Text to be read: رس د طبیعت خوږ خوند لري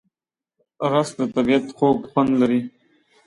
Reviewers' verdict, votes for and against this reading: accepted, 2, 0